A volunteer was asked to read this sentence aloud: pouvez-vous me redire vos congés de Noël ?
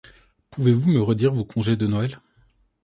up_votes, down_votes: 2, 0